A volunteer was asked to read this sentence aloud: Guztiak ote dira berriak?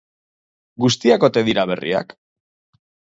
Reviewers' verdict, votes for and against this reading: accepted, 2, 0